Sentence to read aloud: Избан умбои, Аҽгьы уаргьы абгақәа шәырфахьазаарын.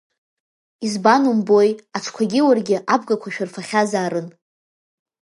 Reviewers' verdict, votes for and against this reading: accepted, 2, 0